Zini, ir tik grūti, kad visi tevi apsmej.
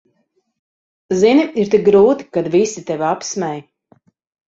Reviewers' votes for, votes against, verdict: 4, 0, accepted